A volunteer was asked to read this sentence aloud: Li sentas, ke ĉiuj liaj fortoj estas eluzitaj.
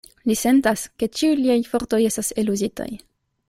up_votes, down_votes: 2, 0